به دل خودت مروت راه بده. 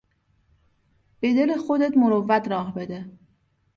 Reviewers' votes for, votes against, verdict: 2, 0, accepted